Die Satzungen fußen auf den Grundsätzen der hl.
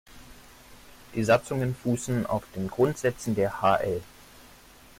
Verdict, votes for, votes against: accepted, 2, 0